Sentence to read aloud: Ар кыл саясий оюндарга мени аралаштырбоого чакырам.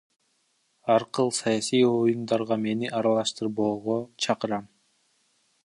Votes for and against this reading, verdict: 0, 2, rejected